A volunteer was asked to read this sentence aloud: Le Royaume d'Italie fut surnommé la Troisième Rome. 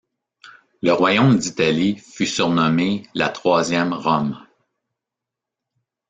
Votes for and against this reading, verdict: 1, 2, rejected